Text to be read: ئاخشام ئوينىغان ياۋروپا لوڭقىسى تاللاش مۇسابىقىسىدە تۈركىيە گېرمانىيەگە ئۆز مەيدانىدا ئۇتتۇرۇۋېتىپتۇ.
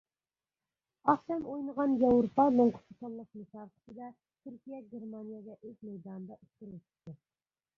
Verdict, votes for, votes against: rejected, 0, 2